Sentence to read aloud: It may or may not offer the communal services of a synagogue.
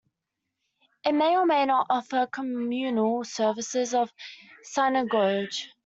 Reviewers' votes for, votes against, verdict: 0, 2, rejected